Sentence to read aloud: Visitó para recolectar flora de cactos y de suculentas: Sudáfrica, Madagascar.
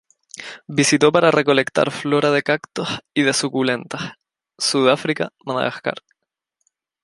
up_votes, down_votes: 0, 2